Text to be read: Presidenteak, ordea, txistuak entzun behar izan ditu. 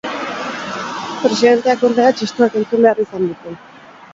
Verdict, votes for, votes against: rejected, 0, 4